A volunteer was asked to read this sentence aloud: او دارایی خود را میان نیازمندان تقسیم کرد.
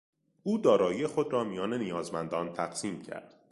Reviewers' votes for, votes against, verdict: 2, 0, accepted